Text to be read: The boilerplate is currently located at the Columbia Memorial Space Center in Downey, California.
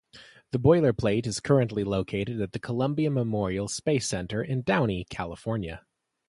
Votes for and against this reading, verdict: 2, 0, accepted